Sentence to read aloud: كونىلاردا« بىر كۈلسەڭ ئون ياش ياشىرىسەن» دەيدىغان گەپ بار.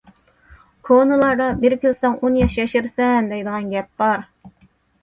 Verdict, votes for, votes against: accepted, 2, 0